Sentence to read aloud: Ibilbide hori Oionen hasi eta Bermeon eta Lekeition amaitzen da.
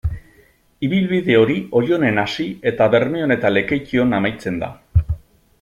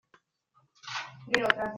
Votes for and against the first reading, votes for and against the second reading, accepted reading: 2, 0, 0, 2, first